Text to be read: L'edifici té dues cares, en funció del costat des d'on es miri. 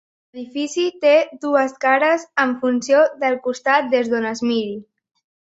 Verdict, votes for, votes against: rejected, 0, 2